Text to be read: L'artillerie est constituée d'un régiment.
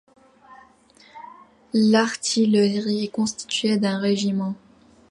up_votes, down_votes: 1, 2